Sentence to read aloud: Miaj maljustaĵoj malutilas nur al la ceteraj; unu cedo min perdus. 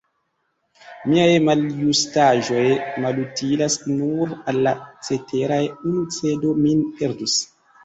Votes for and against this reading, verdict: 2, 0, accepted